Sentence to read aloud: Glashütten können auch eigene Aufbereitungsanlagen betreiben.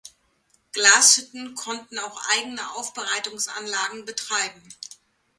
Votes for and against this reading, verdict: 0, 2, rejected